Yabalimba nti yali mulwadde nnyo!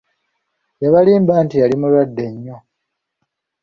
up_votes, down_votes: 2, 1